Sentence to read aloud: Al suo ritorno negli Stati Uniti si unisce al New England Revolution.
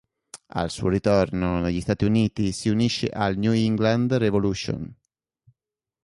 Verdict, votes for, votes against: accepted, 2, 0